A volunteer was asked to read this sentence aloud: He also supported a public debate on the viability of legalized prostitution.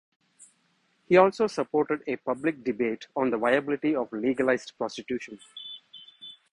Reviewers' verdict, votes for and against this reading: rejected, 0, 2